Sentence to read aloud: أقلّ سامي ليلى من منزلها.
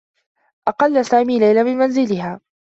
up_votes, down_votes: 2, 0